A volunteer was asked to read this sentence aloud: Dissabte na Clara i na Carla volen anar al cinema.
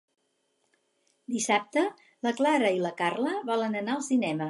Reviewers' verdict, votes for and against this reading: rejected, 2, 4